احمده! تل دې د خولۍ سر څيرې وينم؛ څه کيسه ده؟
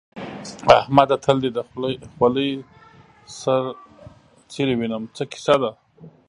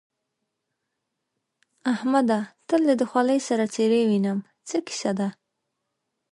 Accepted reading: second